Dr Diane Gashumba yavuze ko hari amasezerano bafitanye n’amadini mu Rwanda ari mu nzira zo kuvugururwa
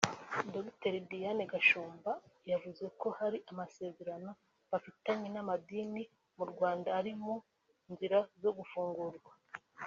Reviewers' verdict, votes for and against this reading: rejected, 1, 2